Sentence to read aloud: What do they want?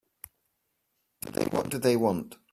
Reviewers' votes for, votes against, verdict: 3, 5, rejected